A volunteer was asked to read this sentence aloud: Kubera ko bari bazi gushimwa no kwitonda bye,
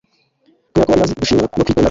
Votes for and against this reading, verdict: 1, 2, rejected